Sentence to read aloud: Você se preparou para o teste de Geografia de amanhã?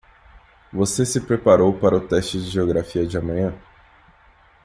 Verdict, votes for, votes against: accepted, 2, 0